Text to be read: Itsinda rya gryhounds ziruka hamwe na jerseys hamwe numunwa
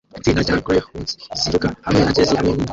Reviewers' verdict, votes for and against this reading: rejected, 0, 2